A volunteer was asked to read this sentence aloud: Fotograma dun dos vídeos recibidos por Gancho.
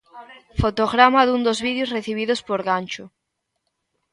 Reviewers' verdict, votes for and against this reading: accepted, 2, 1